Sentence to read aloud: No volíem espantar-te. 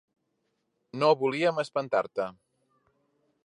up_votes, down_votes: 3, 0